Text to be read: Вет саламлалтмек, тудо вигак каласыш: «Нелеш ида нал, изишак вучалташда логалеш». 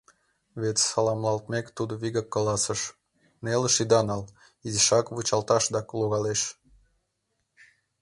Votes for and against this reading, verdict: 2, 0, accepted